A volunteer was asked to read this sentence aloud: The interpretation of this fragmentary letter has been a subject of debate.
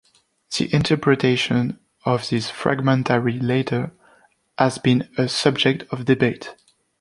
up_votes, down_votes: 2, 0